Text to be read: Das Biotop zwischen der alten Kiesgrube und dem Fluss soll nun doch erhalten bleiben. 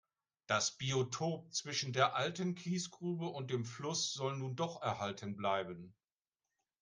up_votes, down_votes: 1, 2